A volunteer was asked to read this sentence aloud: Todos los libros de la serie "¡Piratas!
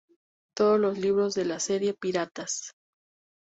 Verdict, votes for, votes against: accepted, 2, 0